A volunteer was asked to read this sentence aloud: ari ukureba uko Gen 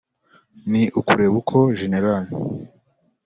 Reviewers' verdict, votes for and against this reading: rejected, 1, 2